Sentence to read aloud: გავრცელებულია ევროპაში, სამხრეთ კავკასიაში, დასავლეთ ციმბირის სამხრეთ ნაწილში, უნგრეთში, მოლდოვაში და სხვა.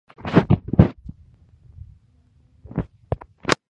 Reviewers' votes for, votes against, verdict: 1, 2, rejected